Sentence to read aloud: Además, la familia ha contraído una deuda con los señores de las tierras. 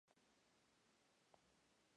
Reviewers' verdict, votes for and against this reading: rejected, 0, 2